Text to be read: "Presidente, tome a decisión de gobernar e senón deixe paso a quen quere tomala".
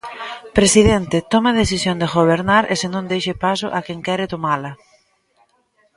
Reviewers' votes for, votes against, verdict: 2, 1, accepted